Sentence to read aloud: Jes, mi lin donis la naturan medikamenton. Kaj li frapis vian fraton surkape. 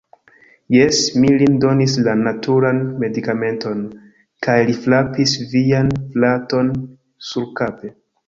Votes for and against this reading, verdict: 0, 2, rejected